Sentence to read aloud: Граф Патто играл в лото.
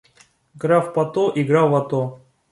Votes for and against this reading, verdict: 2, 1, accepted